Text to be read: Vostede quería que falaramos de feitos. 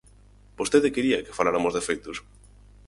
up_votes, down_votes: 0, 4